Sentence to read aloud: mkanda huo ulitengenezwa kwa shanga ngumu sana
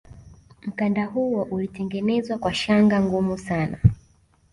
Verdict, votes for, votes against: rejected, 1, 2